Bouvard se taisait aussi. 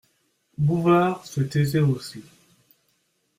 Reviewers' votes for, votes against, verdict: 2, 0, accepted